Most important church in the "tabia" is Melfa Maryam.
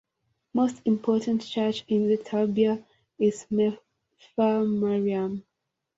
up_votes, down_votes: 2, 0